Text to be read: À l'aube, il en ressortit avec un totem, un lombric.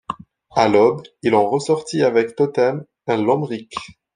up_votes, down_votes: 1, 2